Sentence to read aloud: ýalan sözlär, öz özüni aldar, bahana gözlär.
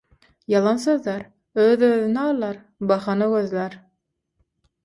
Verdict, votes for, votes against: accepted, 6, 0